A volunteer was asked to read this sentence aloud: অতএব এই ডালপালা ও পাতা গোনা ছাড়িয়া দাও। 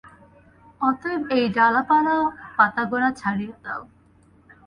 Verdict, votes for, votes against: rejected, 0, 2